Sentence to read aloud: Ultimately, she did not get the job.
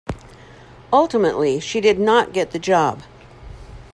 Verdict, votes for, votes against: accepted, 2, 0